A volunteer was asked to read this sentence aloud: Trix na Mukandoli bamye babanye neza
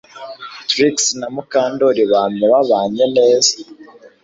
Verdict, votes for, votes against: accepted, 2, 0